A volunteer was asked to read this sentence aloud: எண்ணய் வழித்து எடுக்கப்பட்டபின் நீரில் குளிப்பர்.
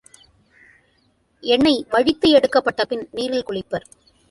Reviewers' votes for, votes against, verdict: 1, 2, rejected